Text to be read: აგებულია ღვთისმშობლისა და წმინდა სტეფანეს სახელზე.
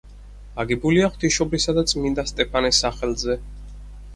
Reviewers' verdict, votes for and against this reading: accepted, 4, 0